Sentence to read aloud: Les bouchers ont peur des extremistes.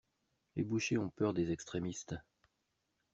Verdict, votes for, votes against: rejected, 1, 2